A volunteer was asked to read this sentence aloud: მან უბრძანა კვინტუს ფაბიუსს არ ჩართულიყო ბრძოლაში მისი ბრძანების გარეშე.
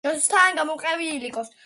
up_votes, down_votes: 1, 2